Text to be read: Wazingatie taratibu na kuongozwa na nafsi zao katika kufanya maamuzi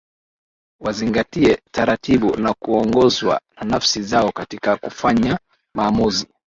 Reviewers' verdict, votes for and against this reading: accepted, 8, 0